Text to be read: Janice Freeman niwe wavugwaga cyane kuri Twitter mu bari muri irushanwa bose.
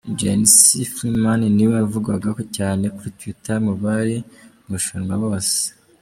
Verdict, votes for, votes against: rejected, 0, 2